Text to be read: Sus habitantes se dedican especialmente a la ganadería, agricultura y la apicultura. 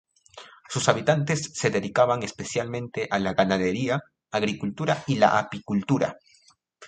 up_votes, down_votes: 0, 2